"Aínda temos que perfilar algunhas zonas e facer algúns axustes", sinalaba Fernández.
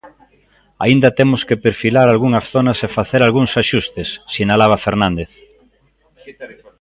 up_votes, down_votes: 1, 2